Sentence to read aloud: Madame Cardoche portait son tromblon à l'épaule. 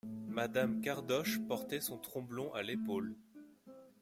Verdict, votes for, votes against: accepted, 2, 0